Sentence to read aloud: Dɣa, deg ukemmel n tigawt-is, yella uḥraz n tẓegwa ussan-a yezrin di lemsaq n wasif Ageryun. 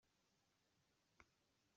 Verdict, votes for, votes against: rejected, 1, 2